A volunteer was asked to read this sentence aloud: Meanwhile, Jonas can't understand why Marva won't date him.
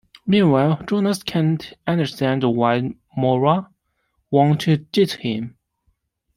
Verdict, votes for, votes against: rejected, 1, 2